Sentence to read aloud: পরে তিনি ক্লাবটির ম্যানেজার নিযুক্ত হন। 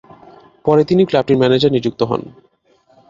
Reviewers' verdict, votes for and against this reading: accepted, 4, 0